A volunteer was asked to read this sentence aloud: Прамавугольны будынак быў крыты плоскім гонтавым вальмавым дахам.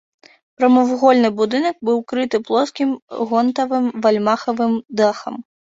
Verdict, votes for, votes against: rejected, 0, 2